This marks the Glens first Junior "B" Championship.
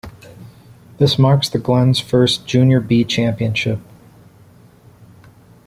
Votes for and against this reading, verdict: 2, 0, accepted